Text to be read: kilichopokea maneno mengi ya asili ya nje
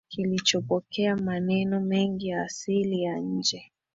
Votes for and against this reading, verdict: 2, 0, accepted